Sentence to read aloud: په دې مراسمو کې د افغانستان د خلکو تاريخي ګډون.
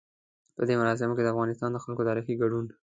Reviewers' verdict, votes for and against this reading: accepted, 2, 0